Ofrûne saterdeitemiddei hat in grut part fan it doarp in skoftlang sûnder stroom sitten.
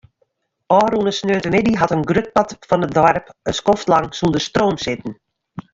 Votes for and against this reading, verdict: 1, 2, rejected